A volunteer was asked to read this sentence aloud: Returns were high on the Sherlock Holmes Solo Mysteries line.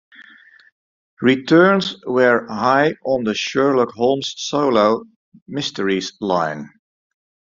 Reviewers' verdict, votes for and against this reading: rejected, 0, 2